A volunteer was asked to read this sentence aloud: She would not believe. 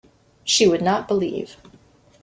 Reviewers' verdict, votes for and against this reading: accepted, 2, 0